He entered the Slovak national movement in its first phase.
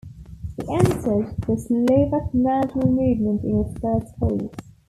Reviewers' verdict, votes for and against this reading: rejected, 2, 3